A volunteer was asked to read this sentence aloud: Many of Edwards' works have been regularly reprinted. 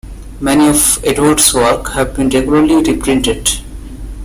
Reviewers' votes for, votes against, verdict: 2, 1, accepted